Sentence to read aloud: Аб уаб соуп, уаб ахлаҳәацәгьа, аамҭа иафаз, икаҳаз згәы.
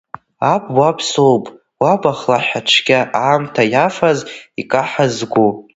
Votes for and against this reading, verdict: 2, 1, accepted